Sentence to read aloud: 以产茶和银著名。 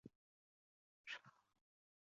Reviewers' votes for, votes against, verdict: 0, 4, rejected